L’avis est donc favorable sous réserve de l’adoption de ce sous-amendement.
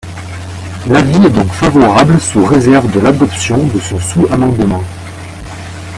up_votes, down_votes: 0, 2